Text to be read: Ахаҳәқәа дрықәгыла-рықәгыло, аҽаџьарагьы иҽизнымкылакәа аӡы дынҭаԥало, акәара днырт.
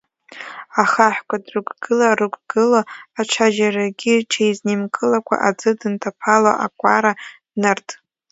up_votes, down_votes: 1, 2